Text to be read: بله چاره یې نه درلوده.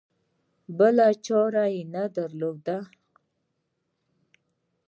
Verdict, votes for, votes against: accepted, 2, 0